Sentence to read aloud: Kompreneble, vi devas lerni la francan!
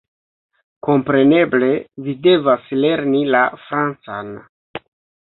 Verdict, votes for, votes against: accepted, 2, 1